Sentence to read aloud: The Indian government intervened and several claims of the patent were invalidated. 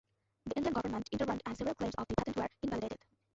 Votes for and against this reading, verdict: 0, 2, rejected